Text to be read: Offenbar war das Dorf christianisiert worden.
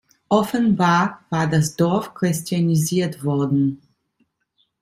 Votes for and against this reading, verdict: 2, 0, accepted